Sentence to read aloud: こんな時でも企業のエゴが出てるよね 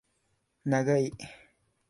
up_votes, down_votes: 2, 3